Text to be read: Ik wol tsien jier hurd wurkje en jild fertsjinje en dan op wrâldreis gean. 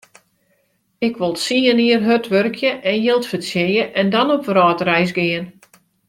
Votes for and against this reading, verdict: 1, 2, rejected